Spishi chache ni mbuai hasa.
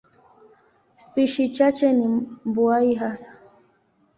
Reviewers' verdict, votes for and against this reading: accepted, 2, 0